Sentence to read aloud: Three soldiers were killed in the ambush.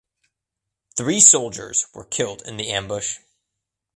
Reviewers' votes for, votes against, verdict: 2, 1, accepted